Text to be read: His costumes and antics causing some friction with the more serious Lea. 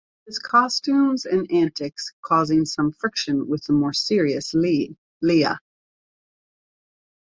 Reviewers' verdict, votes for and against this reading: rejected, 0, 2